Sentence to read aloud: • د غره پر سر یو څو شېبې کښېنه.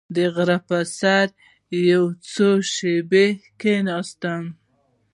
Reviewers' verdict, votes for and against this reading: rejected, 0, 2